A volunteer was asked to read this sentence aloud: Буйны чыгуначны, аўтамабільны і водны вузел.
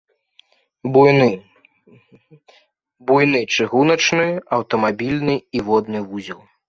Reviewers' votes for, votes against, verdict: 0, 3, rejected